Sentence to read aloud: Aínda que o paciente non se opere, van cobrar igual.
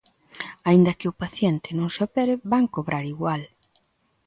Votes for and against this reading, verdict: 2, 0, accepted